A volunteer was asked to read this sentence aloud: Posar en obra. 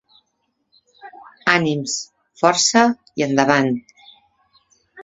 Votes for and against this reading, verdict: 0, 2, rejected